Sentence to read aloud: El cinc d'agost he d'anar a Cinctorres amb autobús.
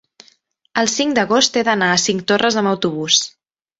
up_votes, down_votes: 2, 0